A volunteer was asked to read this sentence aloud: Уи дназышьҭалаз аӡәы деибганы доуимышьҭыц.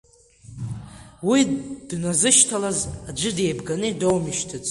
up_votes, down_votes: 1, 2